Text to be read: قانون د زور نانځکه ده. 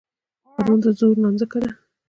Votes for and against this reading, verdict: 1, 2, rejected